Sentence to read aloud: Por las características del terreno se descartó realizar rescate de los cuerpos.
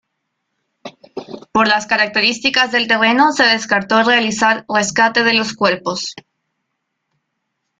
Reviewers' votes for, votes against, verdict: 2, 0, accepted